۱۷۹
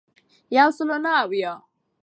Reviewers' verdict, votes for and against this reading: rejected, 0, 2